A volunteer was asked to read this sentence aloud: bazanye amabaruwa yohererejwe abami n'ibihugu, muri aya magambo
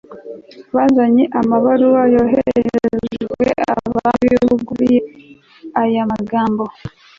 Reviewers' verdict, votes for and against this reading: rejected, 1, 2